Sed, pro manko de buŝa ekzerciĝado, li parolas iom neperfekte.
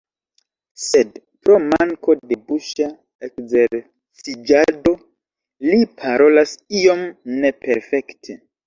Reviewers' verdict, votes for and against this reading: rejected, 0, 2